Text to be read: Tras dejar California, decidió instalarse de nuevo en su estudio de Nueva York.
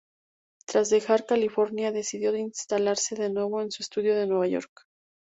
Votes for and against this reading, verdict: 2, 0, accepted